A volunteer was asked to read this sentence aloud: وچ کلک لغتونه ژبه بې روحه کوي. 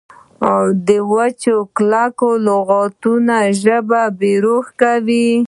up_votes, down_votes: 1, 2